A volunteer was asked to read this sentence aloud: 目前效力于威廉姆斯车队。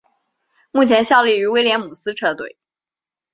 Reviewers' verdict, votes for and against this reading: accepted, 2, 0